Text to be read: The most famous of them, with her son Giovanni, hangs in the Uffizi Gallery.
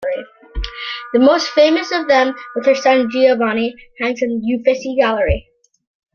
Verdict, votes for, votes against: rejected, 0, 2